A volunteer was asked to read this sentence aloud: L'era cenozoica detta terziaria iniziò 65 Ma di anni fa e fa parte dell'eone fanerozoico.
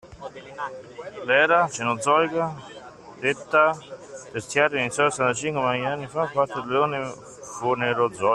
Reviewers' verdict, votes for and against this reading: rejected, 0, 2